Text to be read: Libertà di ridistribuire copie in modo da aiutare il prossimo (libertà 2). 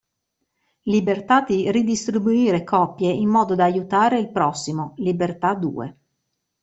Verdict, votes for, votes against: rejected, 0, 2